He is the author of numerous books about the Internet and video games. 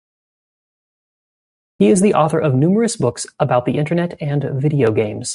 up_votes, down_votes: 2, 0